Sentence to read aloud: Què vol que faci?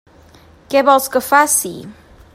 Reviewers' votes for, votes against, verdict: 1, 2, rejected